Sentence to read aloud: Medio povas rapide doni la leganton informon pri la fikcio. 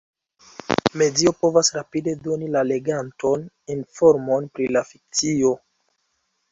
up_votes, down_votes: 1, 2